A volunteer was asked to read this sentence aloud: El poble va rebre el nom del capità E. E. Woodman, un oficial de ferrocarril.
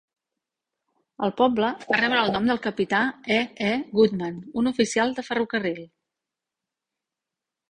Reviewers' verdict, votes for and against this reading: rejected, 1, 2